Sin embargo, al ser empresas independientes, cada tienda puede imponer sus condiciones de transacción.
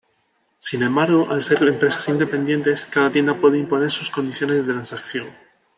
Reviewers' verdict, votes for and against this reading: rejected, 0, 2